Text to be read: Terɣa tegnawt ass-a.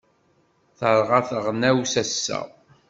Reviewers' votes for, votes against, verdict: 1, 2, rejected